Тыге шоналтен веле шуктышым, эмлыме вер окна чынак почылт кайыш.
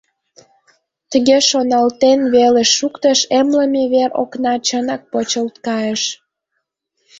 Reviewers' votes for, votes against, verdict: 0, 2, rejected